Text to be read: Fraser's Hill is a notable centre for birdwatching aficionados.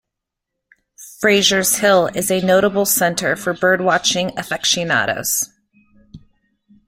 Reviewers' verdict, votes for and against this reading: rejected, 1, 2